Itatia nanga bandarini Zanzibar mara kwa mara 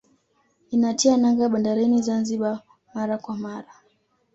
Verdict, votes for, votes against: rejected, 0, 2